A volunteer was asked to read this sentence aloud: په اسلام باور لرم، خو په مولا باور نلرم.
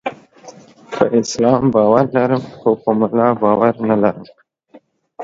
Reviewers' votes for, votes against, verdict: 1, 2, rejected